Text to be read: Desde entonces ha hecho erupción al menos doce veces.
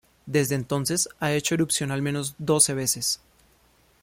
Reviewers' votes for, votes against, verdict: 2, 0, accepted